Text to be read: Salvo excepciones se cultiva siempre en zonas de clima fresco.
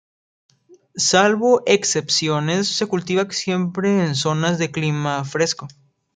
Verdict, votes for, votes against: accepted, 2, 0